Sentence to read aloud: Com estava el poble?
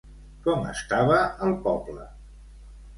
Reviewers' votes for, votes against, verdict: 2, 0, accepted